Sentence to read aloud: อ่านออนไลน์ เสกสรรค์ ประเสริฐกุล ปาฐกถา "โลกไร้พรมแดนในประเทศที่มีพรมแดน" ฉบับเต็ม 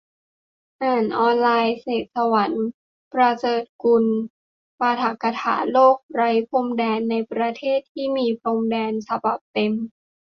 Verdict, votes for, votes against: rejected, 0, 2